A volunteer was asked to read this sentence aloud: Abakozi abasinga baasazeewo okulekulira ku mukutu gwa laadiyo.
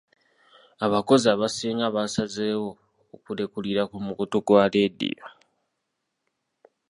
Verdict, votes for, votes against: rejected, 0, 2